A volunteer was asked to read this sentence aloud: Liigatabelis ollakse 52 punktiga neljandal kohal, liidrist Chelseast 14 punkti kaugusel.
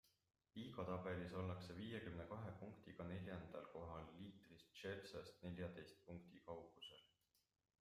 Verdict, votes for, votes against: rejected, 0, 2